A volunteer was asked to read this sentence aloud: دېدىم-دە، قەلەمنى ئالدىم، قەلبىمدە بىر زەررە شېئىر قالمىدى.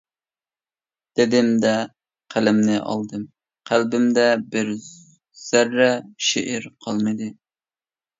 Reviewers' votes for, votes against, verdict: 2, 0, accepted